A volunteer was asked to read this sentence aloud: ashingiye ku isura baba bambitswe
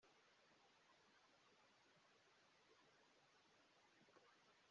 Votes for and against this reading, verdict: 1, 2, rejected